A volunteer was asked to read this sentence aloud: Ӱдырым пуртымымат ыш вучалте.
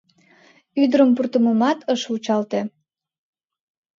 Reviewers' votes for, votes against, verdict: 2, 0, accepted